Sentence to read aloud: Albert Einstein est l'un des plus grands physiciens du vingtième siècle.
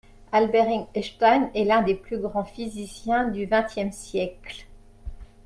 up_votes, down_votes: 0, 2